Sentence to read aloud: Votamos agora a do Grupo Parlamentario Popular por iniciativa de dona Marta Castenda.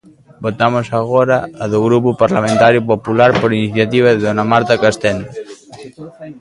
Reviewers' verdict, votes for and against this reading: rejected, 0, 3